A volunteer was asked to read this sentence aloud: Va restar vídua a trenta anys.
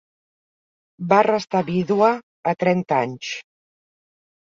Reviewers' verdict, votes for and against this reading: accepted, 2, 0